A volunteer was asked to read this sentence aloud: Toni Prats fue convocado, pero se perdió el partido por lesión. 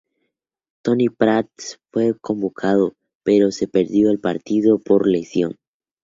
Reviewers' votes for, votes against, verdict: 2, 2, rejected